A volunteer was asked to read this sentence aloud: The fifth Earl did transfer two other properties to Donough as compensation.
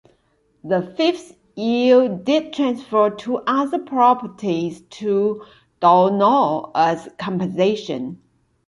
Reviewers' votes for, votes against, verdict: 2, 1, accepted